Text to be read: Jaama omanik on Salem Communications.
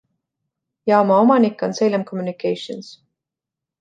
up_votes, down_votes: 2, 0